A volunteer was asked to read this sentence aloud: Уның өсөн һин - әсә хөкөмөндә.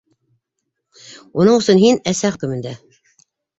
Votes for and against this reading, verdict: 2, 1, accepted